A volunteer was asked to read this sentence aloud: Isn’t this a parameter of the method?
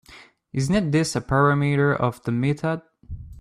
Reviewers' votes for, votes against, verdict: 2, 0, accepted